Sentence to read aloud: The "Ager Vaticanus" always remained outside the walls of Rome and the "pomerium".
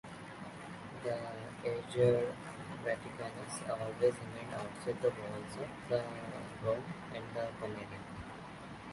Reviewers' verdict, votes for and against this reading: rejected, 0, 2